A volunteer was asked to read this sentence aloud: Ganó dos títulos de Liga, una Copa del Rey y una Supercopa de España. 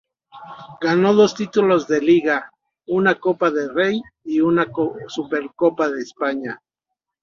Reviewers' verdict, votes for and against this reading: rejected, 1, 2